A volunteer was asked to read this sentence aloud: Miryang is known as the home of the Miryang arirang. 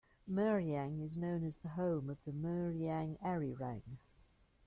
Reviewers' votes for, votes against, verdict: 2, 1, accepted